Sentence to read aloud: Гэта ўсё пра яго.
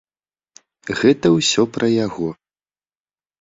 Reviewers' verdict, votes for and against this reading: accepted, 2, 0